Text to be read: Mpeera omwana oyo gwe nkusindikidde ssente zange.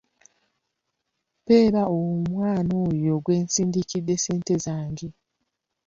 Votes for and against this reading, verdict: 0, 2, rejected